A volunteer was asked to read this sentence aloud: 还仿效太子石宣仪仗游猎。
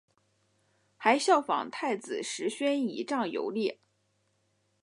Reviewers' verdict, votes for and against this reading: accepted, 5, 0